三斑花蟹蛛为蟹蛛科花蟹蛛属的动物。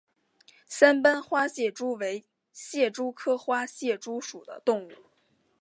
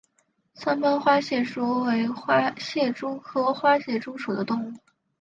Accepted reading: first